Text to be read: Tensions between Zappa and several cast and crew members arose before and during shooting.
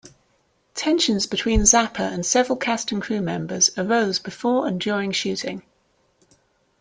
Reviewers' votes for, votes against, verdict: 2, 0, accepted